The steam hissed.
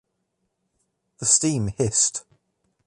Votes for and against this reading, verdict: 3, 2, accepted